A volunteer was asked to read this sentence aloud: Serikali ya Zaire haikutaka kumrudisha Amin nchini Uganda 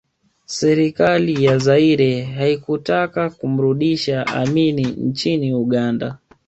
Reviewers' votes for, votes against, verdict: 2, 0, accepted